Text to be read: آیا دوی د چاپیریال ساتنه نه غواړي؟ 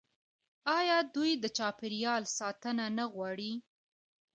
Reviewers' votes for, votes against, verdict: 2, 0, accepted